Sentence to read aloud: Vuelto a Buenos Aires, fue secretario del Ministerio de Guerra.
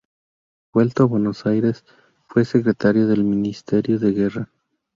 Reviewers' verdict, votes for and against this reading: rejected, 0, 2